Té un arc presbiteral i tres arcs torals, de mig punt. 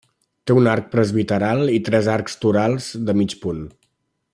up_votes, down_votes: 3, 0